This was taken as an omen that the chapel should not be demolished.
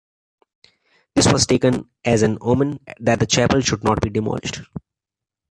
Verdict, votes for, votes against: accepted, 2, 0